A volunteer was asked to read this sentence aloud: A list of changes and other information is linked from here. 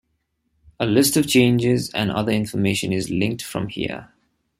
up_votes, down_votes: 3, 0